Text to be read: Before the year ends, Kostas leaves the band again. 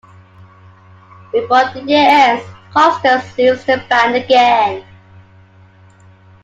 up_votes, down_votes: 2, 1